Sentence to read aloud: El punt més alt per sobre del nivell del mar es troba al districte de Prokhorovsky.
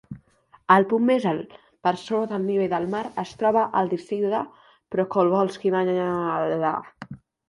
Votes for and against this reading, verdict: 0, 2, rejected